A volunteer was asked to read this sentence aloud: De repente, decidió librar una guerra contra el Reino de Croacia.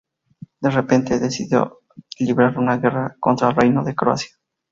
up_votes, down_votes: 4, 4